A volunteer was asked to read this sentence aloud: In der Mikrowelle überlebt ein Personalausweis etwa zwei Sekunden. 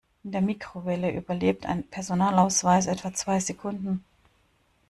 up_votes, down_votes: 1, 2